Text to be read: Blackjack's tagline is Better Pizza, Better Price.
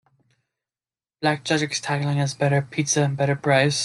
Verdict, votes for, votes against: rejected, 0, 2